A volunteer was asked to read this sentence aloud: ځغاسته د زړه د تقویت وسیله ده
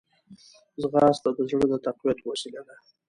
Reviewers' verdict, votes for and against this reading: accepted, 2, 0